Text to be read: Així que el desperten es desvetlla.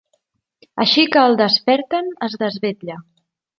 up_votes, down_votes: 3, 0